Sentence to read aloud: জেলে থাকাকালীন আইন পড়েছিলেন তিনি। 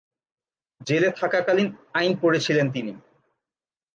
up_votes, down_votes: 4, 0